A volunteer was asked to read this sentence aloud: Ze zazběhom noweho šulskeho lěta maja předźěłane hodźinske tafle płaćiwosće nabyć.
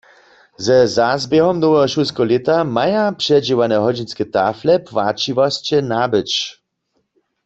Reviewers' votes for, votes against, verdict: 2, 0, accepted